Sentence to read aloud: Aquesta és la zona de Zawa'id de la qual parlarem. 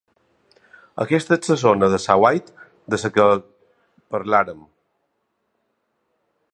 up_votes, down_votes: 0, 2